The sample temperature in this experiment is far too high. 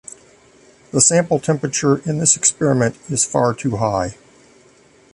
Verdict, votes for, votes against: accepted, 2, 0